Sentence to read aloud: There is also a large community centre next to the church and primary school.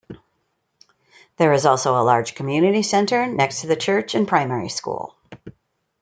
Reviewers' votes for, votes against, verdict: 2, 0, accepted